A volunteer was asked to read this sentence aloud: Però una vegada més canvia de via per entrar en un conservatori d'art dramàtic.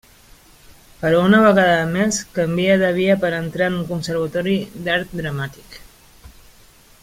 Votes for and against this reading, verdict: 2, 0, accepted